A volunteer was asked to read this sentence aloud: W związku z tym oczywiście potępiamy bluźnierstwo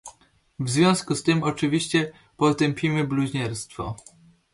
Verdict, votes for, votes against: rejected, 1, 2